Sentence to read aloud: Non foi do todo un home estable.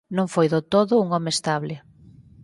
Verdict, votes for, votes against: accepted, 4, 0